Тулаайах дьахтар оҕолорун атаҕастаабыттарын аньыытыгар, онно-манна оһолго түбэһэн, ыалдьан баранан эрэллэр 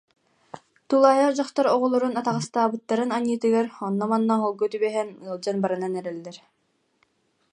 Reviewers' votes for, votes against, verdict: 2, 0, accepted